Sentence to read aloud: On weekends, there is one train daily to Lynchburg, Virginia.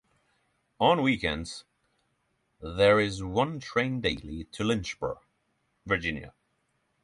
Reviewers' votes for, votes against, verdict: 6, 0, accepted